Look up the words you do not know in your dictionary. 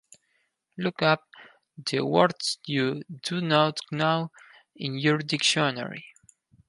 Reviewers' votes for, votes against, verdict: 2, 4, rejected